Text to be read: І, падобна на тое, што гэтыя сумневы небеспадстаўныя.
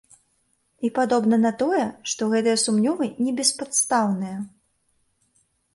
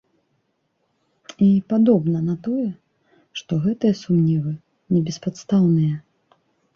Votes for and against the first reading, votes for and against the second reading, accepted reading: 0, 2, 2, 0, second